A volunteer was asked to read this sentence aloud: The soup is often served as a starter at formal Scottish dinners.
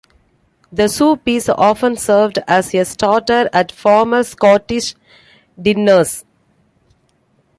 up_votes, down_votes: 2, 1